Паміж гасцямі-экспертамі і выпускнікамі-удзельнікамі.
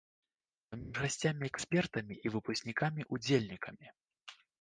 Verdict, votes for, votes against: rejected, 1, 2